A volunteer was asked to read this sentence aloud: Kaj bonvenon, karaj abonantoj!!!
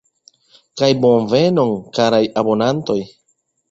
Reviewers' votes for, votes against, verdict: 1, 2, rejected